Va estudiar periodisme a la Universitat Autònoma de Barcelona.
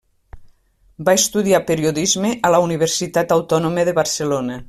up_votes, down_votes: 3, 0